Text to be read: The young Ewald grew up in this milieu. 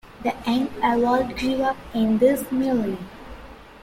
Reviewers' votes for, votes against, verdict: 0, 2, rejected